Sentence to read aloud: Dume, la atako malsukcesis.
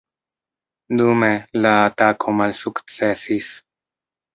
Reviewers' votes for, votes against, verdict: 1, 2, rejected